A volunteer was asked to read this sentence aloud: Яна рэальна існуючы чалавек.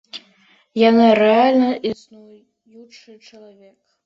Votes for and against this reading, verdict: 2, 1, accepted